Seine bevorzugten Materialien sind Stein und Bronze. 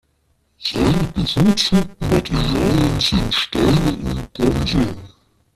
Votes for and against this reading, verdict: 0, 2, rejected